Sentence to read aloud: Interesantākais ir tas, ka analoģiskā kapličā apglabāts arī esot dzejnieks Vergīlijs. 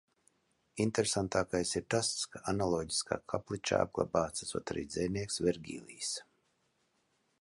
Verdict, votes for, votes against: rejected, 0, 2